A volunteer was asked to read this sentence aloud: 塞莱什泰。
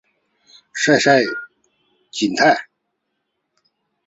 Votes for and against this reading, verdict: 1, 3, rejected